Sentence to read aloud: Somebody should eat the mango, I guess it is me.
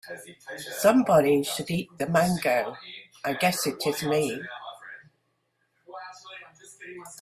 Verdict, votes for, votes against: rejected, 0, 2